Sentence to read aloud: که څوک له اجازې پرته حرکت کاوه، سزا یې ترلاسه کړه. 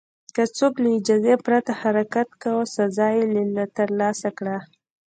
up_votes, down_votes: 0, 2